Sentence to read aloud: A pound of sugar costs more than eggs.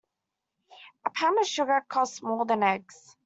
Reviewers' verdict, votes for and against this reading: accepted, 2, 0